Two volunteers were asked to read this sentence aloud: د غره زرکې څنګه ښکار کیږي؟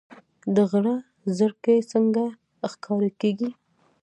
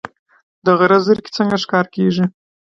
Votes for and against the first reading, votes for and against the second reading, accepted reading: 1, 2, 2, 1, second